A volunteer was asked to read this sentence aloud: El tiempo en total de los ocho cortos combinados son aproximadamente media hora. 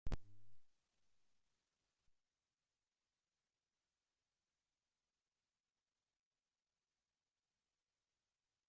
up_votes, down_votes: 0, 2